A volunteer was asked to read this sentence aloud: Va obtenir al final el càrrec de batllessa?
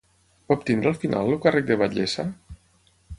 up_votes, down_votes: 0, 9